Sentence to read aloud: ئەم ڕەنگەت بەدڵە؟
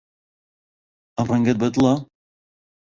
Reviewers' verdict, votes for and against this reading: accepted, 2, 1